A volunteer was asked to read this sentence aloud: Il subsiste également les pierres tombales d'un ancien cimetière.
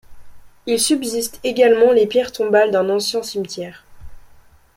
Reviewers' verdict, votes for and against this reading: accepted, 2, 0